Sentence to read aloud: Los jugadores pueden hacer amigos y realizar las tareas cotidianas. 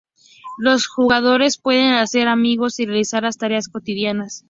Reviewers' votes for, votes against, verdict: 2, 0, accepted